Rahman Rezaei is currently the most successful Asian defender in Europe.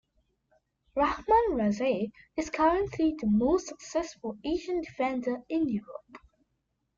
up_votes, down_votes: 2, 0